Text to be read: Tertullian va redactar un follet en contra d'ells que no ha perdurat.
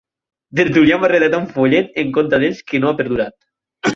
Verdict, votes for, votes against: rejected, 2, 4